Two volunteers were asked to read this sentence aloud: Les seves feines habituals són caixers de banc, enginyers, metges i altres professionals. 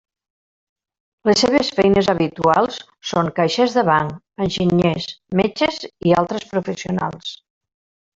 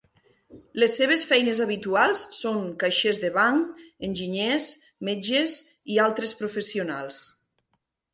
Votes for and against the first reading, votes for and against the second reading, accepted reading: 0, 2, 4, 0, second